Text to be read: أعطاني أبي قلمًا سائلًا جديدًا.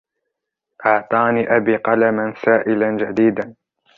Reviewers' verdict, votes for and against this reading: rejected, 1, 2